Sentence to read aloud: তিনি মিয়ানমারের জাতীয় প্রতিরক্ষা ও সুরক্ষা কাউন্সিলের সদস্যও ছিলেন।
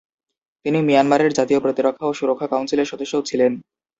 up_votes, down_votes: 2, 0